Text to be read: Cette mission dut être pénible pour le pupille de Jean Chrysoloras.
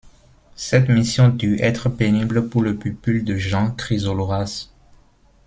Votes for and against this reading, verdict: 1, 2, rejected